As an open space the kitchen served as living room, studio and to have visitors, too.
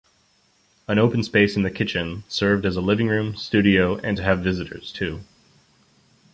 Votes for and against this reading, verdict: 0, 2, rejected